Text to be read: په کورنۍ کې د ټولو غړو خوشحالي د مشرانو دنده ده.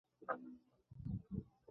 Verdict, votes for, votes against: rejected, 0, 2